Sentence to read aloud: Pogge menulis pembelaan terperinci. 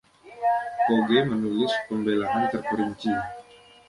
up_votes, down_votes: 1, 2